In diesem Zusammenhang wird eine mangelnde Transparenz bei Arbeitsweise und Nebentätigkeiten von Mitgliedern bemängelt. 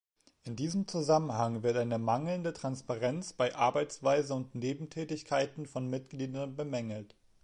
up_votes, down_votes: 2, 0